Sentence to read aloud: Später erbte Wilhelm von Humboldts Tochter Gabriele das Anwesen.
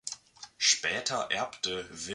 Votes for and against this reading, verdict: 0, 3, rejected